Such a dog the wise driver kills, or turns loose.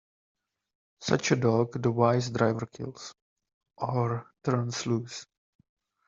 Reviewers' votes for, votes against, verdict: 2, 0, accepted